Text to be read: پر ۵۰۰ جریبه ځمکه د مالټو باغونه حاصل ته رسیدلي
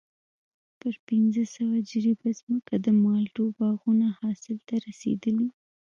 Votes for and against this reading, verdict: 0, 2, rejected